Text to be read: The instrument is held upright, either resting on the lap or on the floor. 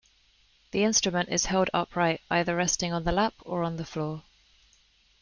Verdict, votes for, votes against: accepted, 2, 0